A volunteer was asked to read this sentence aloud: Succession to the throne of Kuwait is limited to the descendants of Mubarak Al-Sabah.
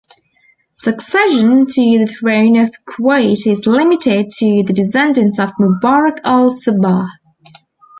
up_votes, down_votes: 2, 0